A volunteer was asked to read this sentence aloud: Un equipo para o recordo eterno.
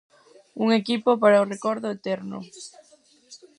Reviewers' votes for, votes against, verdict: 2, 2, rejected